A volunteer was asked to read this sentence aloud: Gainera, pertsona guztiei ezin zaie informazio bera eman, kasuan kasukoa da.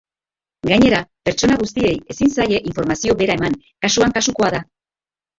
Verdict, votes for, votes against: accepted, 2, 0